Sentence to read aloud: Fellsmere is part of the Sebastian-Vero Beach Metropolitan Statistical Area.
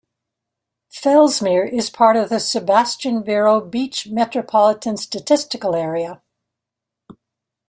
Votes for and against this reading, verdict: 2, 0, accepted